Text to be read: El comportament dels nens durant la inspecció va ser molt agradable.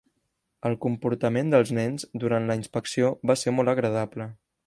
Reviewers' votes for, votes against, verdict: 3, 0, accepted